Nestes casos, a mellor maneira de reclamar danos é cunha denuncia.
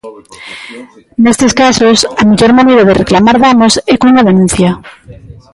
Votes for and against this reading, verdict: 0, 2, rejected